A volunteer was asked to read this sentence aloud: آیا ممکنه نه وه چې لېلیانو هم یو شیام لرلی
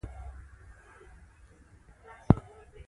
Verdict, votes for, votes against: accepted, 2, 0